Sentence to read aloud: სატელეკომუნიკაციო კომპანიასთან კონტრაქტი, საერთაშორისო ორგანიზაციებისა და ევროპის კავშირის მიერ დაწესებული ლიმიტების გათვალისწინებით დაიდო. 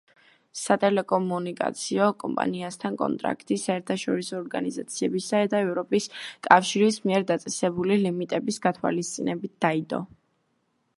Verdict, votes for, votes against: rejected, 1, 2